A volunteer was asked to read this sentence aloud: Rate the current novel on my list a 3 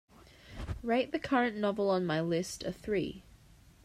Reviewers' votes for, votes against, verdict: 0, 2, rejected